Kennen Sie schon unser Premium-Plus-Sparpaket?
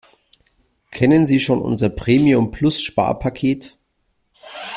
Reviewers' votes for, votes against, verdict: 0, 2, rejected